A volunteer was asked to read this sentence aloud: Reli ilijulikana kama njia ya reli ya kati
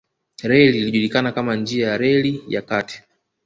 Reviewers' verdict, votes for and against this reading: rejected, 1, 2